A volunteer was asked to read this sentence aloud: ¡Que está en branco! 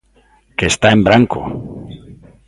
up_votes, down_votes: 2, 0